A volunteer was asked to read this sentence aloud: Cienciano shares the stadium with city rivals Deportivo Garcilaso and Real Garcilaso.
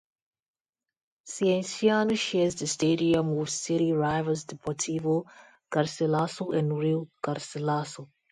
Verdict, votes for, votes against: rejected, 0, 2